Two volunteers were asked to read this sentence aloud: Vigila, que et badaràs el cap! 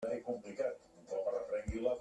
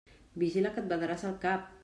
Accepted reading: second